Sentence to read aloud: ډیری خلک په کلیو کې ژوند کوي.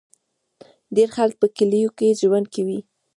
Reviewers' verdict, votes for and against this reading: rejected, 1, 2